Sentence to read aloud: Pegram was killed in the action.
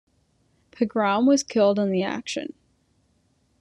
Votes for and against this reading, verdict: 2, 0, accepted